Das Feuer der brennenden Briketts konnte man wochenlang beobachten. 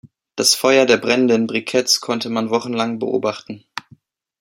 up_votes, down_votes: 2, 0